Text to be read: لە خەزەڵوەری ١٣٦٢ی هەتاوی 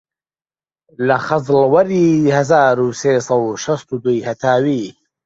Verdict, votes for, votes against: rejected, 0, 2